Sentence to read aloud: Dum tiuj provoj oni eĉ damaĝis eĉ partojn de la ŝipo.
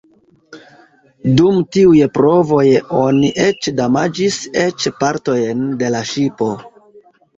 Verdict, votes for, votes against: accepted, 2, 1